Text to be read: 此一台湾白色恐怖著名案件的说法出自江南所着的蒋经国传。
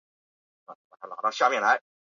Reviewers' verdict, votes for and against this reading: rejected, 0, 2